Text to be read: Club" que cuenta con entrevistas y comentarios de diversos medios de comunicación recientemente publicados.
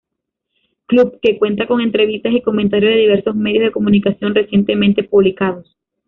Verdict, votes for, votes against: rejected, 1, 2